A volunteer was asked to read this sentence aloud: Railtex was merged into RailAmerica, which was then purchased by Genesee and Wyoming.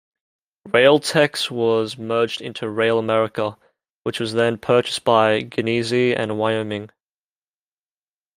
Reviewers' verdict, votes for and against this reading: accepted, 2, 0